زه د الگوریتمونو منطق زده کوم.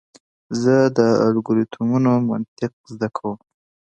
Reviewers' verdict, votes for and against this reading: accepted, 2, 0